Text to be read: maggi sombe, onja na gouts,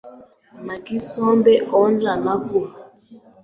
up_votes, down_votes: 2, 0